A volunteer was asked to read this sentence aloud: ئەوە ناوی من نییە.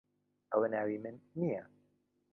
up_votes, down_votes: 1, 2